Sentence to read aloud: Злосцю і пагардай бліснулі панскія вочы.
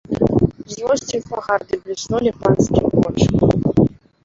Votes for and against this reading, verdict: 0, 2, rejected